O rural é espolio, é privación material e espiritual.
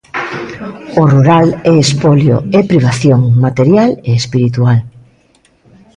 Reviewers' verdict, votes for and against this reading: accepted, 2, 0